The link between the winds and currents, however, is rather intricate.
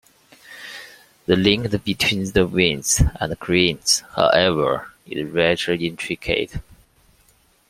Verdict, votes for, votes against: accepted, 2, 1